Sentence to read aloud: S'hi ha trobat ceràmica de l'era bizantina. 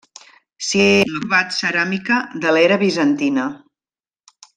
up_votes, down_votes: 0, 2